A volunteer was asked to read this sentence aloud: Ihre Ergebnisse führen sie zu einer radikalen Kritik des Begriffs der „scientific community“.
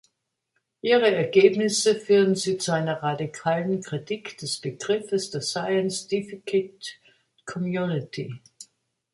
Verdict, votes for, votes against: rejected, 0, 2